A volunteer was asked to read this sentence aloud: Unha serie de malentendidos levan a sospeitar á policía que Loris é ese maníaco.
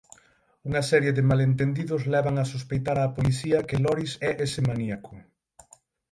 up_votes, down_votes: 6, 0